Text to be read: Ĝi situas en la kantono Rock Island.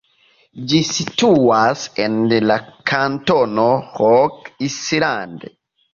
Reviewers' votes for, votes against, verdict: 2, 1, accepted